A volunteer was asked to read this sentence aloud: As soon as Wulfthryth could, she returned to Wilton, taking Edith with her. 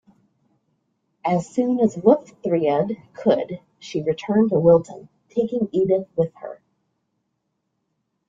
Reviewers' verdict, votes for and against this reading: accepted, 2, 0